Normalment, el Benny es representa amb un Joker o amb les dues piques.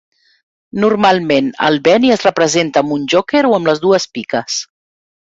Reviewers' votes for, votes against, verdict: 2, 0, accepted